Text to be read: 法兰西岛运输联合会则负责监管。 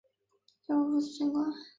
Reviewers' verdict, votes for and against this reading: rejected, 0, 2